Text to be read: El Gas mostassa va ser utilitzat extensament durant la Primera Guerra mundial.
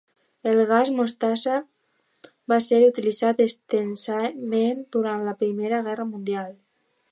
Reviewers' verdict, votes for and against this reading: accepted, 2, 0